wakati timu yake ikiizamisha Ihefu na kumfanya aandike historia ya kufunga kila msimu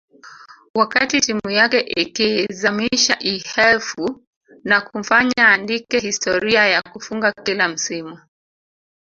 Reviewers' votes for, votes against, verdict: 2, 1, accepted